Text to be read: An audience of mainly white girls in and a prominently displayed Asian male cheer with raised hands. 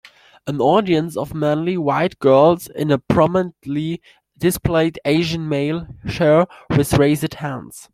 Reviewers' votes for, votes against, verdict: 0, 2, rejected